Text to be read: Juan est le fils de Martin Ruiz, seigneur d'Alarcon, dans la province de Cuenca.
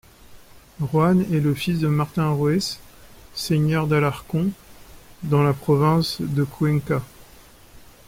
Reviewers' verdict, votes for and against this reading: accepted, 2, 0